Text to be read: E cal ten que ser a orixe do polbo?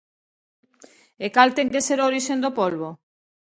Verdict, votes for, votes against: rejected, 0, 2